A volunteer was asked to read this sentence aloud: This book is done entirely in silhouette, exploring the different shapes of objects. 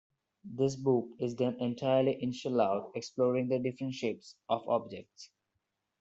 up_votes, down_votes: 0, 2